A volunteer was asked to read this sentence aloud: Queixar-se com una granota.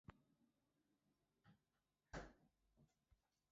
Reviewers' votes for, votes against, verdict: 0, 2, rejected